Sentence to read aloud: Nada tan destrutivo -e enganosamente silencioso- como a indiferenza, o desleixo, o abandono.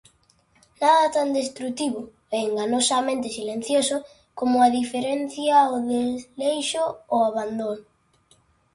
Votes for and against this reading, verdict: 0, 2, rejected